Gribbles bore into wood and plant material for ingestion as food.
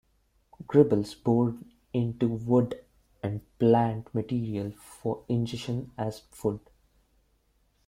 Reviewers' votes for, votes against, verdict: 0, 2, rejected